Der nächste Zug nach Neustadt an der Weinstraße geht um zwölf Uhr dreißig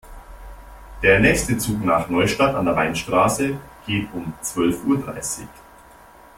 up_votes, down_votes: 2, 0